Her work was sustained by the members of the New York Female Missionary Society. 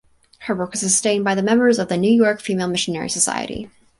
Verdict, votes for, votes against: accepted, 4, 0